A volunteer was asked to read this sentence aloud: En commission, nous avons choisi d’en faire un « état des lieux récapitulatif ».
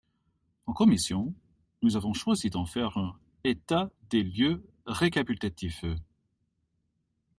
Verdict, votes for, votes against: rejected, 0, 2